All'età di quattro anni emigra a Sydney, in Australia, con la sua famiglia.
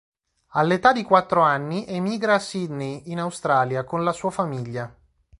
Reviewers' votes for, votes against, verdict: 2, 0, accepted